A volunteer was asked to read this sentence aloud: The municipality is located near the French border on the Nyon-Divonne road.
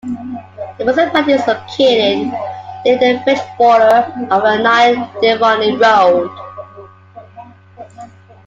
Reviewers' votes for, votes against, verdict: 2, 1, accepted